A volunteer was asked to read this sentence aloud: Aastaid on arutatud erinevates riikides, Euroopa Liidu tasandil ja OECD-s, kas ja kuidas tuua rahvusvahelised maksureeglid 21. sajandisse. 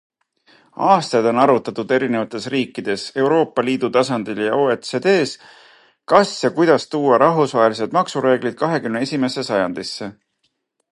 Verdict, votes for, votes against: rejected, 0, 2